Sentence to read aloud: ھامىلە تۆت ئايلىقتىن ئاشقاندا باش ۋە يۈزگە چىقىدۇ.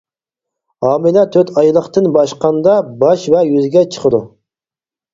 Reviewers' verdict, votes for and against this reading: rejected, 2, 4